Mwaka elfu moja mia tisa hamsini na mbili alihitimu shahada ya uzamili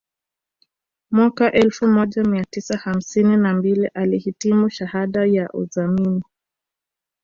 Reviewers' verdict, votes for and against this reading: accepted, 2, 0